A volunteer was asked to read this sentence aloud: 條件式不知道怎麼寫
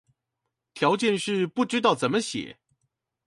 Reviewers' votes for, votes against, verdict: 2, 2, rejected